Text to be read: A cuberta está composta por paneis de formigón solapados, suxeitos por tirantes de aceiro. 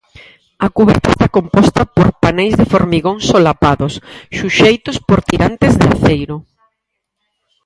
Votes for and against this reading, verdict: 2, 4, rejected